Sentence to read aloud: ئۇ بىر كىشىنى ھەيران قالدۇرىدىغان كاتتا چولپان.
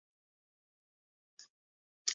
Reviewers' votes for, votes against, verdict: 0, 2, rejected